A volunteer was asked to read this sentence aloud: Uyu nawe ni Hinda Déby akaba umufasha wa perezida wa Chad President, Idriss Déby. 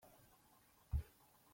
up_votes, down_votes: 0, 2